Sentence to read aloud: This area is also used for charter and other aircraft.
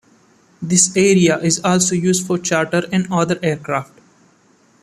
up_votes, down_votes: 2, 0